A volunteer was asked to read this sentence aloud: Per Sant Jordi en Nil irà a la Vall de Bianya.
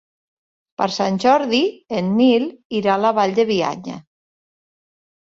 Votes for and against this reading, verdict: 3, 0, accepted